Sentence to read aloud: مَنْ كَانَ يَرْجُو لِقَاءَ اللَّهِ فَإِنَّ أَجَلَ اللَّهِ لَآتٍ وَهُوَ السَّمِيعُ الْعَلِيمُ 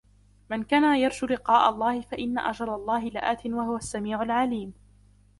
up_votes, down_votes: 1, 2